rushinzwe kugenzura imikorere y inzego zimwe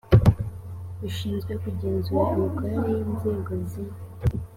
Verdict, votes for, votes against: accepted, 2, 1